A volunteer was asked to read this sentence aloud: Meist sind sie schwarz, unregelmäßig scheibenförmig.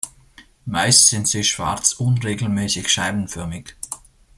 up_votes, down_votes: 2, 0